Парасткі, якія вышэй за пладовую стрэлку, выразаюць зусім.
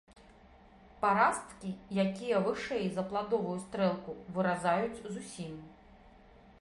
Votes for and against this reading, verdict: 0, 2, rejected